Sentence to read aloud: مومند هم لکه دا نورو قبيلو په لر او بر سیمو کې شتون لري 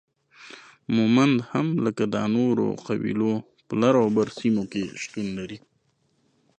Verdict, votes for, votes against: accepted, 2, 0